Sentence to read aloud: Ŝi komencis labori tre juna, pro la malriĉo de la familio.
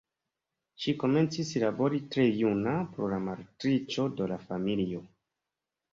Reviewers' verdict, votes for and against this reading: rejected, 0, 2